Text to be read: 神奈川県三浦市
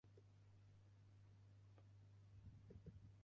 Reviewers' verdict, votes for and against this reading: rejected, 1, 2